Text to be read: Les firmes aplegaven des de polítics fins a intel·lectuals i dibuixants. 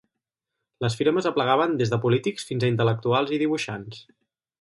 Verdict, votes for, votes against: accepted, 4, 0